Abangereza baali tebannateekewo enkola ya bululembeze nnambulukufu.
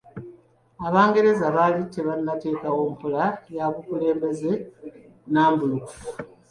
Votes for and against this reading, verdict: 0, 2, rejected